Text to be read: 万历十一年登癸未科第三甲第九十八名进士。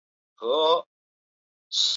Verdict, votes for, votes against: rejected, 1, 3